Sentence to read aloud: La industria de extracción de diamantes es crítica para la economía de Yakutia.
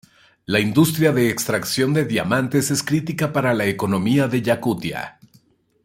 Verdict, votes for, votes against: accepted, 2, 0